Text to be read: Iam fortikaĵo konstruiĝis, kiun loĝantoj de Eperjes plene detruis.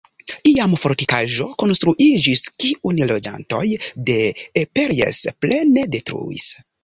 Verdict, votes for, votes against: accepted, 2, 1